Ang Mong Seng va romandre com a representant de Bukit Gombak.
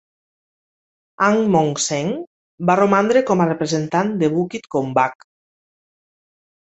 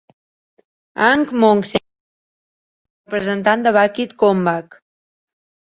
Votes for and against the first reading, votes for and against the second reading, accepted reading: 3, 0, 1, 2, first